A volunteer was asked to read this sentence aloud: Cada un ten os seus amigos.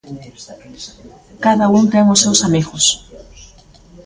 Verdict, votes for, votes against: rejected, 1, 2